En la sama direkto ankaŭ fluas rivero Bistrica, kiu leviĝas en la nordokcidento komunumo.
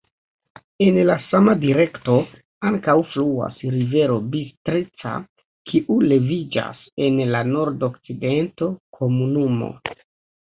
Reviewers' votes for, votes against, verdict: 2, 1, accepted